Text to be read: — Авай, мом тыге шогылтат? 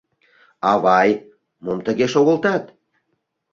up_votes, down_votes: 2, 0